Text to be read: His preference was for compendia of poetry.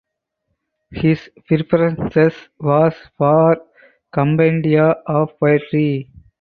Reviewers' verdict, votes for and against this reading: rejected, 0, 2